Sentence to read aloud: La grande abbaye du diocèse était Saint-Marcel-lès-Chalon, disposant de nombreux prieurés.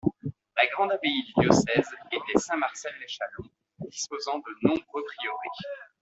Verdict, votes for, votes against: rejected, 0, 2